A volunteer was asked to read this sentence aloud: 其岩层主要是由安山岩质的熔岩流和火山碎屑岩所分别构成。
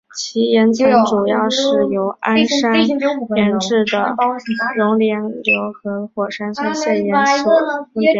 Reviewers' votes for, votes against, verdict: 0, 2, rejected